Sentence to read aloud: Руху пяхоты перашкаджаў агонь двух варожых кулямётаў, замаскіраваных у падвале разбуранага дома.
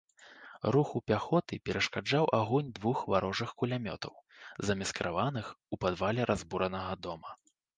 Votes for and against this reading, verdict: 1, 2, rejected